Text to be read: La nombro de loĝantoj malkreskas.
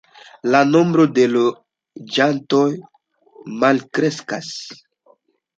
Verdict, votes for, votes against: accepted, 2, 0